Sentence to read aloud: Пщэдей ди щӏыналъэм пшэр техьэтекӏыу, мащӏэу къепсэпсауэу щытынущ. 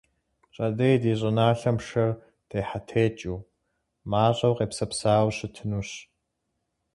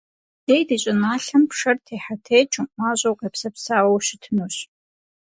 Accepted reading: first